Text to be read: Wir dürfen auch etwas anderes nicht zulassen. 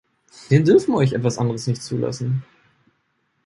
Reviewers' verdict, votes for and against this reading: rejected, 2, 3